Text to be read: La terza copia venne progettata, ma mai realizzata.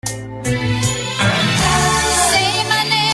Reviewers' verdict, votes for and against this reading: rejected, 0, 2